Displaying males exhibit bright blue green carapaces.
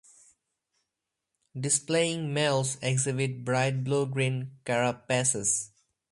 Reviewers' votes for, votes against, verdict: 4, 0, accepted